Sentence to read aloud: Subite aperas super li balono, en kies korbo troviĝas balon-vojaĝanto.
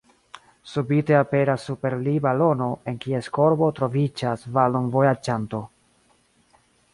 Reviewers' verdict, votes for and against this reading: accepted, 2, 0